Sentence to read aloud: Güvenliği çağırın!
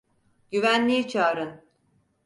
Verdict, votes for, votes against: accepted, 4, 0